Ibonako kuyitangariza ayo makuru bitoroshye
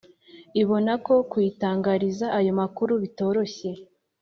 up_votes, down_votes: 2, 0